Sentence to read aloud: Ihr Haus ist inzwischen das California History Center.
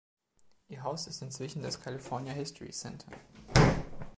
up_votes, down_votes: 2, 1